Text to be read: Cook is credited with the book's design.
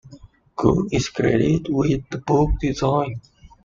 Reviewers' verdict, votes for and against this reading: rejected, 0, 2